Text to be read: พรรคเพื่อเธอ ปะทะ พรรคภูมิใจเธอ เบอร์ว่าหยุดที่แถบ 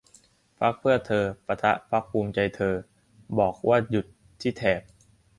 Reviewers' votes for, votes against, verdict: 0, 3, rejected